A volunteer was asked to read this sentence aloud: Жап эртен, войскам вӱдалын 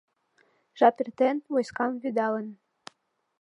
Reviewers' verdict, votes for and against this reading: accepted, 3, 0